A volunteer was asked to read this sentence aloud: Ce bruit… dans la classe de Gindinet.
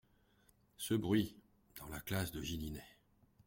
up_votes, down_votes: 0, 2